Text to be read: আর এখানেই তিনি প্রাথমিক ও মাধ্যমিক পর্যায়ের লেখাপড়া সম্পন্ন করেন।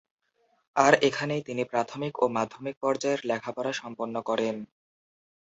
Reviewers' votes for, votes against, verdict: 4, 0, accepted